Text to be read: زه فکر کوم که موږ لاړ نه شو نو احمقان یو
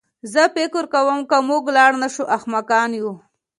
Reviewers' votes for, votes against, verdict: 2, 0, accepted